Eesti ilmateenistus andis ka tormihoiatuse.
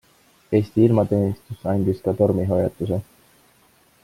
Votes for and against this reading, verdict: 2, 0, accepted